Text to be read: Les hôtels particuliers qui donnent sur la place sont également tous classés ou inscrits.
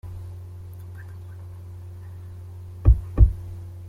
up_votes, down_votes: 0, 2